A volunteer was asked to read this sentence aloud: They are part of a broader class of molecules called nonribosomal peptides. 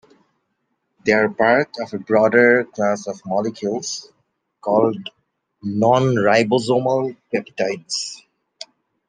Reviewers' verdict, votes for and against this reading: accepted, 2, 0